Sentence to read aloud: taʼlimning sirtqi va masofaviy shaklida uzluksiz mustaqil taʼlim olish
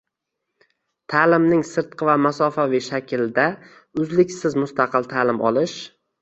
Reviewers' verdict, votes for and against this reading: rejected, 0, 2